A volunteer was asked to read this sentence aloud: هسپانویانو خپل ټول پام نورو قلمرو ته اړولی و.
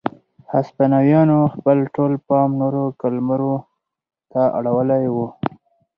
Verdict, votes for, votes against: rejected, 2, 4